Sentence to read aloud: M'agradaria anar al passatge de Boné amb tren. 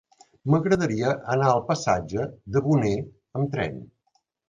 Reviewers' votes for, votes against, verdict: 2, 0, accepted